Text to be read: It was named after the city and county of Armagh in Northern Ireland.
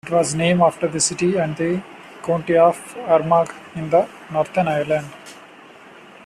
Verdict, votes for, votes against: rejected, 1, 2